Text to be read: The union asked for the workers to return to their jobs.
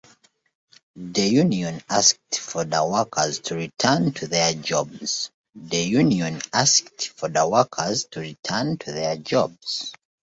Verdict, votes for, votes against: rejected, 1, 2